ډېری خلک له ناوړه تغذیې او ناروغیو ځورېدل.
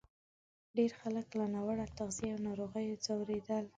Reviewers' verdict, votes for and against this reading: rejected, 1, 2